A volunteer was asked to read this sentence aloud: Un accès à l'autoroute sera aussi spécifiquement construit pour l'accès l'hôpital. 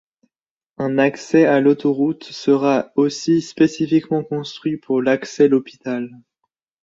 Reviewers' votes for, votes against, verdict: 2, 0, accepted